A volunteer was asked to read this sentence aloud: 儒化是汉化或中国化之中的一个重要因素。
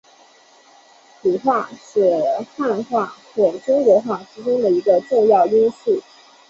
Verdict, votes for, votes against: accepted, 4, 1